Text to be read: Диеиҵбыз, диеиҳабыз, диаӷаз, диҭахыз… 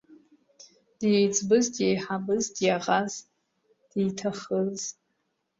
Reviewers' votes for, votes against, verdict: 0, 2, rejected